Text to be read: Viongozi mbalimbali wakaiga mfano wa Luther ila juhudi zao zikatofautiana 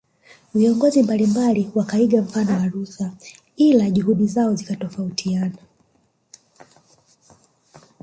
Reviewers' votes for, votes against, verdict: 1, 2, rejected